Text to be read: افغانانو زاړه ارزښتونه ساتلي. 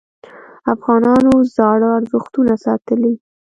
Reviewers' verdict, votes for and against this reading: accepted, 2, 0